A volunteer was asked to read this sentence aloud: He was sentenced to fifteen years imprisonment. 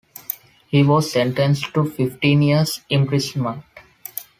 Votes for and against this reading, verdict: 2, 0, accepted